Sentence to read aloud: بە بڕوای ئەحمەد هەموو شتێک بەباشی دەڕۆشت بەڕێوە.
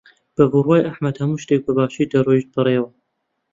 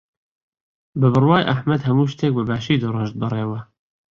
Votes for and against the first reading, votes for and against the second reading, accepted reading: 0, 2, 2, 0, second